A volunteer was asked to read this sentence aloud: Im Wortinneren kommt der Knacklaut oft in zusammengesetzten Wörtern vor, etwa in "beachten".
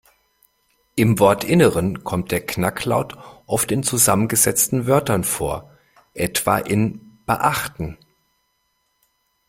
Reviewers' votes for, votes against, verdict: 2, 0, accepted